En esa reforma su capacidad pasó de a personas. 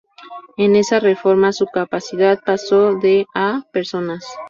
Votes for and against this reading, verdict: 2, 0, accepted